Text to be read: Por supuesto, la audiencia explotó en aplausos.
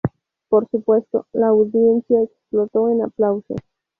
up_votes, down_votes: 4, 0